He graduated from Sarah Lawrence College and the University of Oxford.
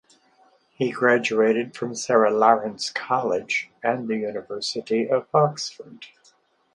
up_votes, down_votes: 6, 0